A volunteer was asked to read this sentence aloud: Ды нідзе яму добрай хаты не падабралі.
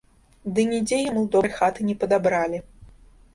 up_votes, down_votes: 1, 2